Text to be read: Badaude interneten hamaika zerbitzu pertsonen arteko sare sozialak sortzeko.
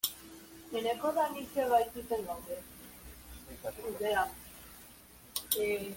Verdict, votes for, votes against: rejected, 0, 2